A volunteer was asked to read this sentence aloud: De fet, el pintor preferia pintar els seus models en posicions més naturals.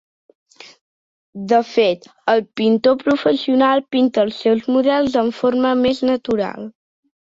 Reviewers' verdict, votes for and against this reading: rejected, 0, 2